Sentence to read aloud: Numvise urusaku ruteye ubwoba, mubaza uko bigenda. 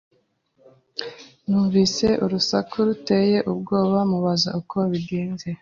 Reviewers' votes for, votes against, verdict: 0, 2, rejected